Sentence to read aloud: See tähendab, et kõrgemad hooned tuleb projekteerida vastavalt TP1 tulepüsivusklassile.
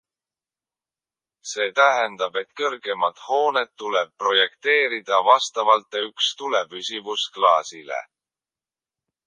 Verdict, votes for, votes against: rejected, 0, 2